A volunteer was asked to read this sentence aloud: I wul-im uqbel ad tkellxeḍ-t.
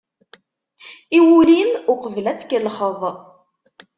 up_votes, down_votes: 0, 2